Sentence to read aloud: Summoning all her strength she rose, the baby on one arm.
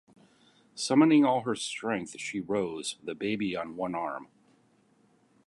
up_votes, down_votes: 2, 0